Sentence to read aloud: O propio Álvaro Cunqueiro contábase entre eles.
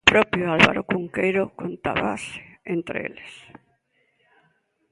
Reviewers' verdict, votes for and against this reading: rejected, 0, 2